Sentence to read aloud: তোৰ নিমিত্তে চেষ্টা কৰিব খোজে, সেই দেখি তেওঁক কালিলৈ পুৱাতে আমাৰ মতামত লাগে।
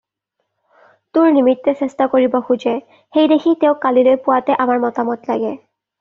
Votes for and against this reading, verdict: 2, 0, accepted